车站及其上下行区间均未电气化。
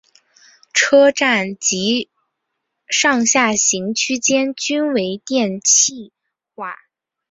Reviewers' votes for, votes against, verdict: 1, 2, rejected